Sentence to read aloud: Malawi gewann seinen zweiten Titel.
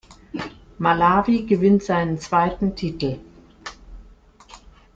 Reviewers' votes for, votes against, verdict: 0, 2, rejected